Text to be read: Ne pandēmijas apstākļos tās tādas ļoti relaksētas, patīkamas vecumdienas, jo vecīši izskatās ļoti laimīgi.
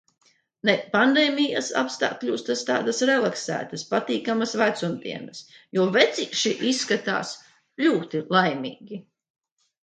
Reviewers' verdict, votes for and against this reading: rejected, 0, 2